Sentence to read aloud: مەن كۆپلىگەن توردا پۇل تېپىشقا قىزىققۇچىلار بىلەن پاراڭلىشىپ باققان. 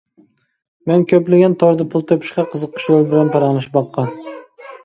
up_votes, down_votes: 1, 2